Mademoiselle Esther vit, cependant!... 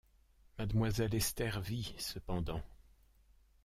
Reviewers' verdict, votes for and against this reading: rejected, 1, 2